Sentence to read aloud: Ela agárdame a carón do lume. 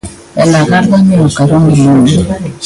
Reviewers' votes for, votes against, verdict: 0, 2, rejected